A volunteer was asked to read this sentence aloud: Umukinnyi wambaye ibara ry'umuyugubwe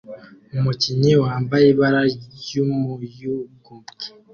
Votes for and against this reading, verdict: 2, 0, accepted